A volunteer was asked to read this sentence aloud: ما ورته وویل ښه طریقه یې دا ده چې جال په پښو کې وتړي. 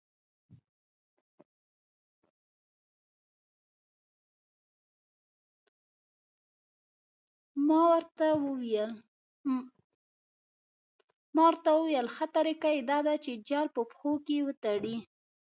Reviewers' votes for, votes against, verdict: 1, 2, rejected